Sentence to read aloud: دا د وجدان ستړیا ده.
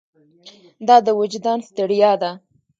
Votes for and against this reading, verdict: 2, 0, accepted